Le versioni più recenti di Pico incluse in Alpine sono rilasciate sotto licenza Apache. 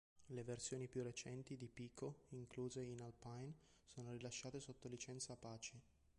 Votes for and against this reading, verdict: 2, 0, accepted